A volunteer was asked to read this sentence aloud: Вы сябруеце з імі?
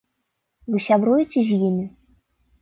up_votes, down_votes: 3, 0